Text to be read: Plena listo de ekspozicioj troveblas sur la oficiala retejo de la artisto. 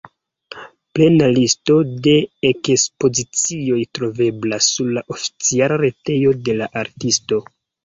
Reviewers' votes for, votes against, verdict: 0, 2, rejected